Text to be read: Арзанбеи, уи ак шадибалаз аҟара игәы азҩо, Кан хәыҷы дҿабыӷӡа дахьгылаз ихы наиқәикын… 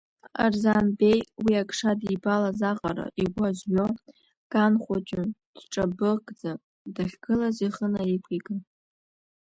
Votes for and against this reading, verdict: 1, 2, rejected